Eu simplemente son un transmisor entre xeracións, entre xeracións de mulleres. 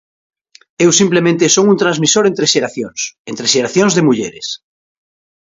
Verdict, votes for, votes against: accepted, 2, 0